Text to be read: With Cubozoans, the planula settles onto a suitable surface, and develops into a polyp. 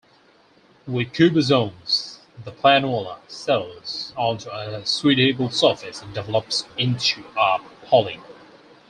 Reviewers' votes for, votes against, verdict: 0, 4, rejected